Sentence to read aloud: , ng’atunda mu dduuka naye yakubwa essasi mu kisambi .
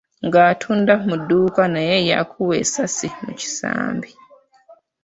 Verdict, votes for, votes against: rejected, 0, 2